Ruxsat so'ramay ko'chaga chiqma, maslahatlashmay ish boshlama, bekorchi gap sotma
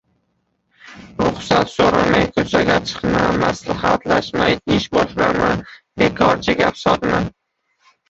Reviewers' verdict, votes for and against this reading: rejected, 0, 2